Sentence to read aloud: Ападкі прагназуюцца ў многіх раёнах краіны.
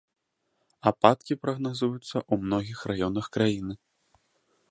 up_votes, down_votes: 2, 0